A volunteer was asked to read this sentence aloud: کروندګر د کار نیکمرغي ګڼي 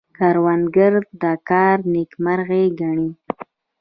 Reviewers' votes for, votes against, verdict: 2, 0, accepted